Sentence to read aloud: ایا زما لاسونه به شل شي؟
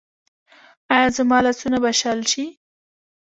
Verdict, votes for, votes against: accepted, 2, 0